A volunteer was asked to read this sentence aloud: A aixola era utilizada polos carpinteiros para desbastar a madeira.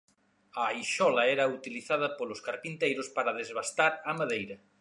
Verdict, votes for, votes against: accepted, 2, 0